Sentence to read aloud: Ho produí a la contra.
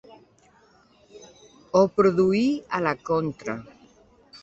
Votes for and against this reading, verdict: 2, 0, accepted